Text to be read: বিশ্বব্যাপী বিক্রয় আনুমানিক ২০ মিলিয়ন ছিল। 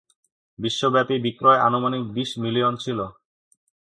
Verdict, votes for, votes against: rejected, 0, 2